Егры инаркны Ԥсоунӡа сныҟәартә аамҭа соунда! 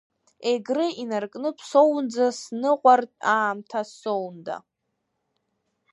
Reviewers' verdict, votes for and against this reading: rejected, 0, 2